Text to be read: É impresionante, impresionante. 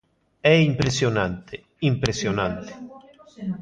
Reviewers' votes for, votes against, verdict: 2, 0, accepted